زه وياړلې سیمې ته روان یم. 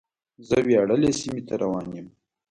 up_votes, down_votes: 2, 0